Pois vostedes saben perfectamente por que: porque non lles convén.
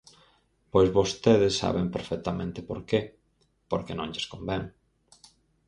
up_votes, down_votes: 4, 0